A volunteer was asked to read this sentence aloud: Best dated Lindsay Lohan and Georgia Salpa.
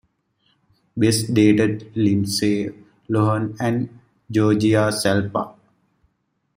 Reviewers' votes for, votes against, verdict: 1, 2, rejected